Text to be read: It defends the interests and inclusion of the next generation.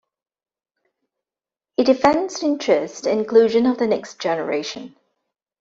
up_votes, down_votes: 0, 2